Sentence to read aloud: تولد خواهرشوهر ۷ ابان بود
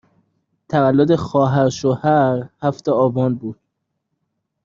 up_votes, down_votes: 0, 2